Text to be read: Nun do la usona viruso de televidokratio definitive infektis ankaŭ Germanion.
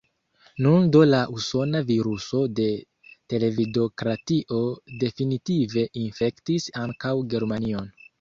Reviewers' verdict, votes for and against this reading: rejected, 0, 2